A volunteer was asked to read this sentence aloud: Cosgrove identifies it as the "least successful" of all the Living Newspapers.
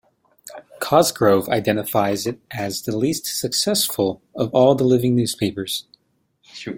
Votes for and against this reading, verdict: 0, 2, rejected